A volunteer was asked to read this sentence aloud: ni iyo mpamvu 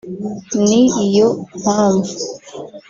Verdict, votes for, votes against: rejected, 0, 2